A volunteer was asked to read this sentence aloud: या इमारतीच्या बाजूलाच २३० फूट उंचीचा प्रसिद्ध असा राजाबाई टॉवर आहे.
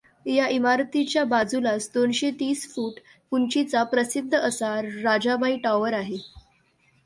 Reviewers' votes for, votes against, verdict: 0, 2, rejected